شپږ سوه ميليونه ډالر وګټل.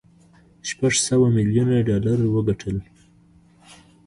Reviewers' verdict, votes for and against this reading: accepted, 2, 1